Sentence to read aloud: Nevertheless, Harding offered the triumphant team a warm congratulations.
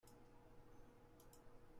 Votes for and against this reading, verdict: 0, 2, rejected